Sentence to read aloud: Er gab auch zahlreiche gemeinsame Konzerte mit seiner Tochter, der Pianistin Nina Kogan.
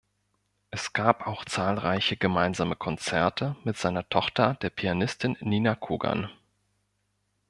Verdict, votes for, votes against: rejected, 1, 2